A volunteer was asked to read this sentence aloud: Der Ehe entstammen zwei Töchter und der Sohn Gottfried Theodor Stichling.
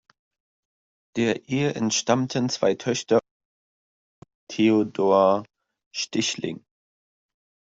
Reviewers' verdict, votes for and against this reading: rejected, 0, 2